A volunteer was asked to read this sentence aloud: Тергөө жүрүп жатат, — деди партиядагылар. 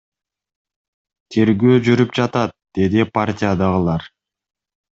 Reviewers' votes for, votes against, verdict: 2, 0, accepted